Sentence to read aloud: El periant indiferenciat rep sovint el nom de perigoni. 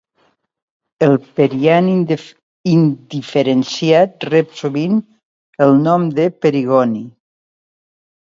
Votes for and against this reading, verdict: 1, 2, rejected